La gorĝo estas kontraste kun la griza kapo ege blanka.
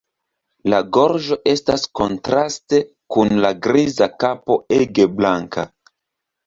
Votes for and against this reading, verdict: 2, 0, accepted